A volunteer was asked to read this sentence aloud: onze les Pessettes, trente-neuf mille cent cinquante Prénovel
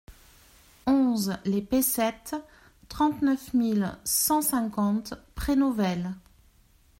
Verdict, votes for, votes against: accepted, 2, 0